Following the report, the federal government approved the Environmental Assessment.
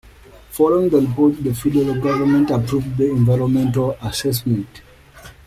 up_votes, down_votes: 1, 2